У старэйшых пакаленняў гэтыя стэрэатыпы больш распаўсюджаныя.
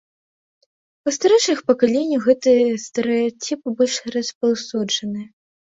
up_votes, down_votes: 0, 2